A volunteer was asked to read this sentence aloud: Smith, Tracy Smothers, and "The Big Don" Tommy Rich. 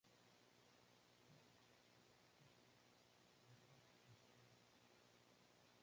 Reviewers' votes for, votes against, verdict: 0, 2, rejected